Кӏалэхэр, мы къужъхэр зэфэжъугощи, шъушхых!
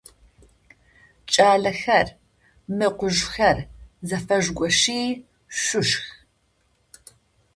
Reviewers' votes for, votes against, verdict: 0, 2, rejected